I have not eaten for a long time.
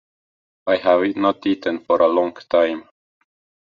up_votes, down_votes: 2, 1